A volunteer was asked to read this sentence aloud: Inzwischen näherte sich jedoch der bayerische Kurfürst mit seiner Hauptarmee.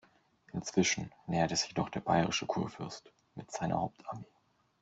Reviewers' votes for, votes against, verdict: 2, 0, accepted